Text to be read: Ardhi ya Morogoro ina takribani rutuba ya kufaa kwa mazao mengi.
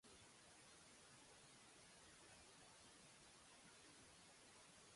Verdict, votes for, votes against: rejected, 0, 2